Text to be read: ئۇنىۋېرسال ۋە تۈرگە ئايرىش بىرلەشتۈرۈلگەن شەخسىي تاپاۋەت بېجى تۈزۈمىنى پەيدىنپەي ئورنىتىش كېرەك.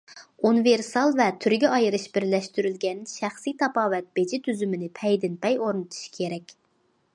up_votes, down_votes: 2, 0